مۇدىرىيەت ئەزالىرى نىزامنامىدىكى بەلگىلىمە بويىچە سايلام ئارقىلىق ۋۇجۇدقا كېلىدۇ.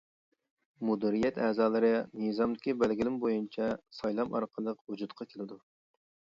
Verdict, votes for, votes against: rejected, 1, 2